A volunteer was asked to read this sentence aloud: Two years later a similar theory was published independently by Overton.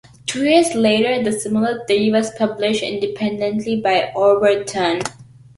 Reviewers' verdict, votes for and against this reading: accepted, 2, 1